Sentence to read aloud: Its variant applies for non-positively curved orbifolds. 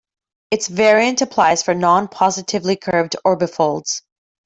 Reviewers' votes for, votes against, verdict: 2, 0, accepted